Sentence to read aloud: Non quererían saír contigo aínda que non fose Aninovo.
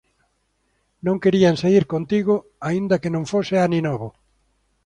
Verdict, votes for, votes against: rejected, 0, 2